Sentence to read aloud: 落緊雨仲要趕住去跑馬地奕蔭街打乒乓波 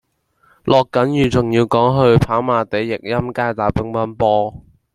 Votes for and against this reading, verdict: 1, 2, rejected